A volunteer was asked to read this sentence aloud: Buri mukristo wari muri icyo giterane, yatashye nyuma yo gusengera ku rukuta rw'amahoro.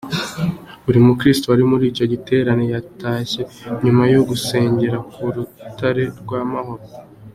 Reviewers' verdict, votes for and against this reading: accepted, 2, 0